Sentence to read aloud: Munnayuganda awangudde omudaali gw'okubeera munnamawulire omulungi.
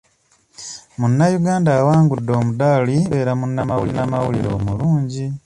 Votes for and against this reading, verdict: 1, 2, rejected